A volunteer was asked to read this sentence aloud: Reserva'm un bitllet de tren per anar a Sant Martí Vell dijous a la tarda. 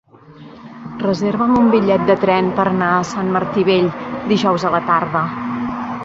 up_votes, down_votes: 3, 1